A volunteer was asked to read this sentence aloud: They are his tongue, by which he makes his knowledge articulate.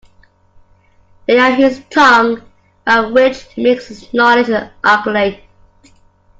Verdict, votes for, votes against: rejected, 1, 2